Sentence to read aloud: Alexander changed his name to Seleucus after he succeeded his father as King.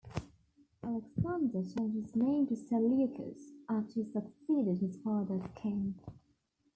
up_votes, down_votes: 2, 1